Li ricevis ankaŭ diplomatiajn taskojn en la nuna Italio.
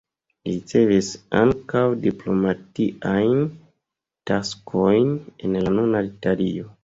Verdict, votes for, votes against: rejected, 1, 2